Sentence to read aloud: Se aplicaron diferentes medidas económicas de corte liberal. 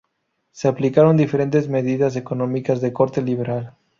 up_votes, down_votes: 2, 0